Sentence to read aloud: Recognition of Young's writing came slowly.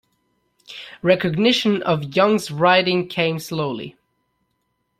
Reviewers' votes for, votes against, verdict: 2, 0, accepted